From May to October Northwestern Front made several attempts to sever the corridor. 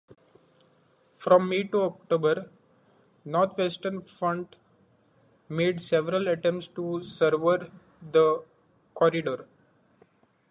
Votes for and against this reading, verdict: 2, 1, accepted